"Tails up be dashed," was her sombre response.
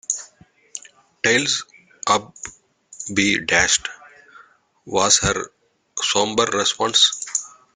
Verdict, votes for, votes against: rejected, 1, 2